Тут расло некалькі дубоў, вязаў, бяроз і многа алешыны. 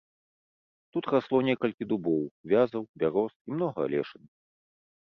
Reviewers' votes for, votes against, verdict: 1, 2, rejected